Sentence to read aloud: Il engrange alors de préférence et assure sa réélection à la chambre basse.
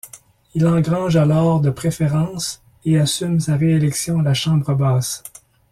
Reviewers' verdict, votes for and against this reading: rejected, 1, 2